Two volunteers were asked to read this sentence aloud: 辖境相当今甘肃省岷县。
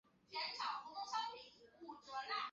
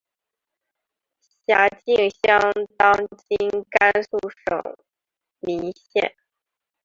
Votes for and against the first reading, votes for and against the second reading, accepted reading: 2, 7, 3, 0, second